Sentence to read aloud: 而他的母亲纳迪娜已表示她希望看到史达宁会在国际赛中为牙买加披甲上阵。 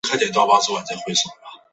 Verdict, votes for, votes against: accepted, 2, 0